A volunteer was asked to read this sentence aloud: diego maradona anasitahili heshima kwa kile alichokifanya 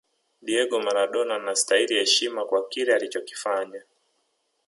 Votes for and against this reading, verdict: 0, 2, rejected